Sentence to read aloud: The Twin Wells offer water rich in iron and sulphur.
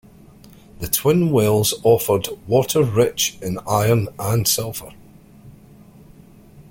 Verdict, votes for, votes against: rejected, 1, 2